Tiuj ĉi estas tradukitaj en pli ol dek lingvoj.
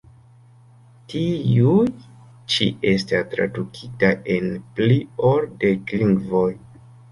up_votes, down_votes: 0, 3